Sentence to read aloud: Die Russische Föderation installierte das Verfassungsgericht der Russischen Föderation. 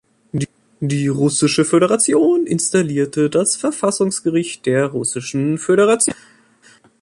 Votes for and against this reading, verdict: 0, 2, rejected